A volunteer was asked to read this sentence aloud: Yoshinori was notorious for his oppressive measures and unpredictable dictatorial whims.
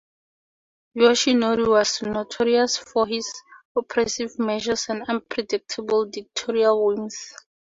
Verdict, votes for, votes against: rejected, 2, 2